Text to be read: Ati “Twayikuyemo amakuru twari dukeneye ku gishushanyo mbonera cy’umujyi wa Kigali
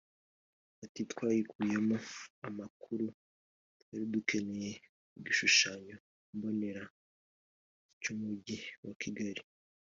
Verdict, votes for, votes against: accepted, 2, 1